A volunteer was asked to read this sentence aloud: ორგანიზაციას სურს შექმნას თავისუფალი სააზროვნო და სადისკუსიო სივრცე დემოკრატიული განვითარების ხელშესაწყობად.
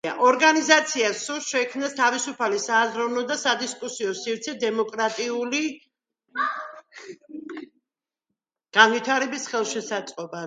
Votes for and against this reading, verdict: 2, 0, accepted